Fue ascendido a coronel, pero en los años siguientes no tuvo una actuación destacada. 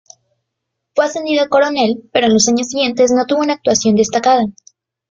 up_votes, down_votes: 2, 0